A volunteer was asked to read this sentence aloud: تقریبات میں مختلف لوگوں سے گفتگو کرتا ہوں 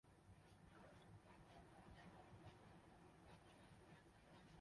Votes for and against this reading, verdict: 0, 3, rejected